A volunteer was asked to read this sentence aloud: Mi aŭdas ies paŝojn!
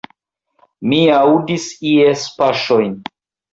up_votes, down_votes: 1, 2